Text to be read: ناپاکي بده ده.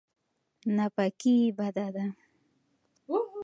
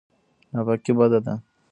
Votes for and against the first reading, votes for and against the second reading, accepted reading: 2, 0, 0, 2, first